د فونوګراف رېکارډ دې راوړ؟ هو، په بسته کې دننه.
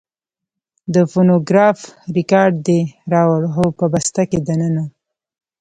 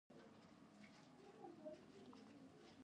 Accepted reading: second